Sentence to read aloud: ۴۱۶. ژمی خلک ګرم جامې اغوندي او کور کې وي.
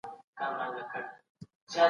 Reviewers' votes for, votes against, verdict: 0, 2, rejected